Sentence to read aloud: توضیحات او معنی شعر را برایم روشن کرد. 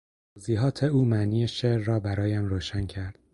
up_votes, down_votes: 0, 4